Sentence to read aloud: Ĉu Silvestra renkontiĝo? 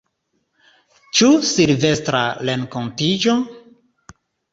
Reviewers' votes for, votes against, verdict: 2, 0, accepted